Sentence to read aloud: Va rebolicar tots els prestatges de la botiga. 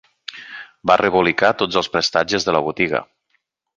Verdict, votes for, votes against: accepted, 4, 0